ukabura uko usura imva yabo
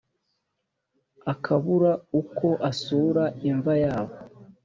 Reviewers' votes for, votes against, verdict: 1, 2, rejected